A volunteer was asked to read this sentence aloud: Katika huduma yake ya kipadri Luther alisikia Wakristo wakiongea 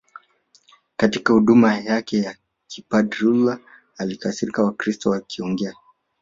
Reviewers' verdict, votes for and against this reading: accepted, 2, 0